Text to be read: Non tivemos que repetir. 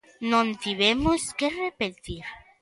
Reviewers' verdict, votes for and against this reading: accepted, 2, 0